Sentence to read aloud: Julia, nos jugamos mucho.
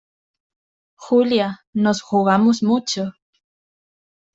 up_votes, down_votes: 2, 0